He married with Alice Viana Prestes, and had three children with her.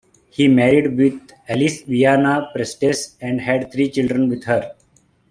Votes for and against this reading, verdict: 3, 0, accepted